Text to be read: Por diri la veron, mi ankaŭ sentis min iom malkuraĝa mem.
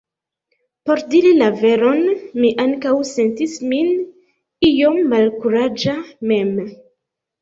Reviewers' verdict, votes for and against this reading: rejected, 1, 2